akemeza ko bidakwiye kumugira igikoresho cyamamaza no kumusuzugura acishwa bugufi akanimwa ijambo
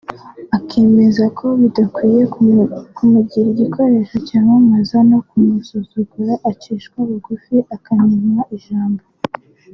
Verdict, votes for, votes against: rejected, 1, 2